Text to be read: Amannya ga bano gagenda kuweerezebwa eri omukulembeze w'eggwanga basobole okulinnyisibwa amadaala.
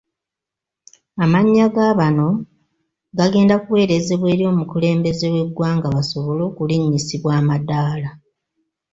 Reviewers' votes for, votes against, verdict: 2, 0, accepted